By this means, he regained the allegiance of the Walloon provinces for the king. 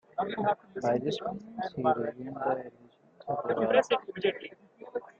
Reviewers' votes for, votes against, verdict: 0, 3, rejected